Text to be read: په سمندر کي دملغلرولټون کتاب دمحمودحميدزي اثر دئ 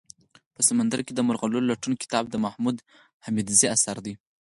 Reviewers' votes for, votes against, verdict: 2, 4, rejected